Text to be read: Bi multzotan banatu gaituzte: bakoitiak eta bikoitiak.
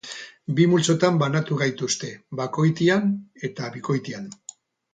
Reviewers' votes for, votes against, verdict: 0, 4, rejected